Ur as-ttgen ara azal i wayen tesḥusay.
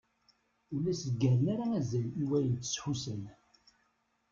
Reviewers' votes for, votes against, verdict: 1, 2, rejected